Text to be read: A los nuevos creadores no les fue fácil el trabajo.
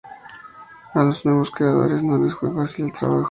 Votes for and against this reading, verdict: 2, 0, accepted